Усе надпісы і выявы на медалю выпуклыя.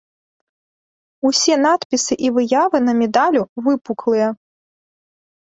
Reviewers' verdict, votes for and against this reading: rejected, 0, 2